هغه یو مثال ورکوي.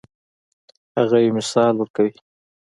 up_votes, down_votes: 2, 0